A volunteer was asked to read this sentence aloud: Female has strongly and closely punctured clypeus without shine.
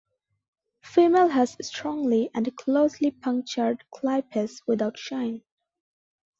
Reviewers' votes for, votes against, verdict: 2, 0, accepted